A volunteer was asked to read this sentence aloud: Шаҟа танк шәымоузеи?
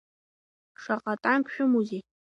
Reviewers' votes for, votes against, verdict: 2, 0, accepted